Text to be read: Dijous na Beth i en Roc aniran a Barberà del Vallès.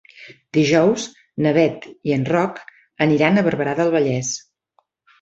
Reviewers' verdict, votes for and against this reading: accepted, 3, 0